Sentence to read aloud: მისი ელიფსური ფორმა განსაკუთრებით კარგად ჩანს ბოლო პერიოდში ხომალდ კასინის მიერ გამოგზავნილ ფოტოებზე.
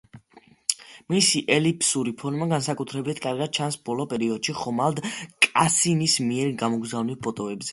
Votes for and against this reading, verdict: 2, 0, accepted